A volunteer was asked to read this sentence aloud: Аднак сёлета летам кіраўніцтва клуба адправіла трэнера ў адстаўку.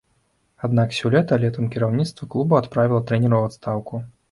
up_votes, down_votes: 0, 2